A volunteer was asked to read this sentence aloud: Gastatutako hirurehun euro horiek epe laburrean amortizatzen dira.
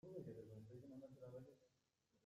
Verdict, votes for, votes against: rejected, 0, 2